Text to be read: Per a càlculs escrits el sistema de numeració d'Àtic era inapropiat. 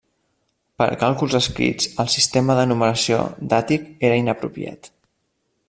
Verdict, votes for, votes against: accepted, 2, 0